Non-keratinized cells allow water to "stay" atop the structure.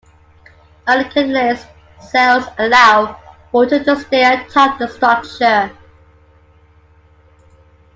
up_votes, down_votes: 0, 2